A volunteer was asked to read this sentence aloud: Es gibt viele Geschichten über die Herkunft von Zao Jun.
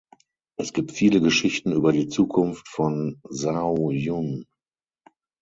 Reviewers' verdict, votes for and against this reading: rejected, 0, 6